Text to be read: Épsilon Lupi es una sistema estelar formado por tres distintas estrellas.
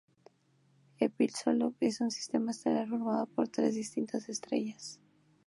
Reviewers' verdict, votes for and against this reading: rejected, 0, 2